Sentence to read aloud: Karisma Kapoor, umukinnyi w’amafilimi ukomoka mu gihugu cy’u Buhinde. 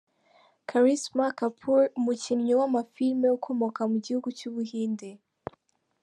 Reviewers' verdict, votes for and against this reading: accepted, 2, 0